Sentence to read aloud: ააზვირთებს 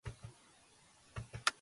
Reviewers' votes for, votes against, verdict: 0, 3, rejected